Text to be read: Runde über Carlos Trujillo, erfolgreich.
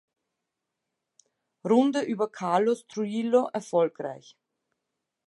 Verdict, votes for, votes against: accepted, 2, 0